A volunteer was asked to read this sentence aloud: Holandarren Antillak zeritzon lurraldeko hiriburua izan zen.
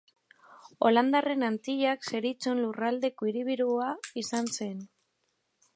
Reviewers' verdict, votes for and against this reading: rejected, 0, 2